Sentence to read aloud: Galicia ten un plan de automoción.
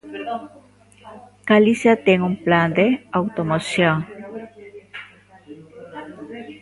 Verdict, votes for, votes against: accepted, 2, 0